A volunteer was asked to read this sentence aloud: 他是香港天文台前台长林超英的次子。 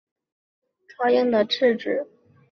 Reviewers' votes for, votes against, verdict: 1, 4, rejected